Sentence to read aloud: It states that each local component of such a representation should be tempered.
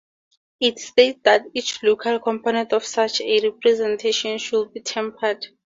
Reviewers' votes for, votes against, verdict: 4, 0, accepted